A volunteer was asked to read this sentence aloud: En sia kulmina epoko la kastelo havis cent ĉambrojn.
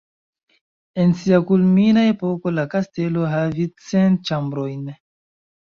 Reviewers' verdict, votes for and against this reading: accepted, 2, 1